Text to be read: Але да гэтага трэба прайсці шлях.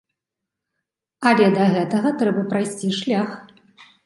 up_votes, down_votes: 2, 0